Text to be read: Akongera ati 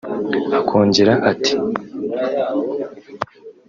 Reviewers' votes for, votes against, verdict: 1, 2, rejected